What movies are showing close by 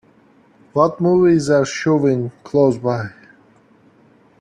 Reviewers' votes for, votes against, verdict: 2, 1, accepted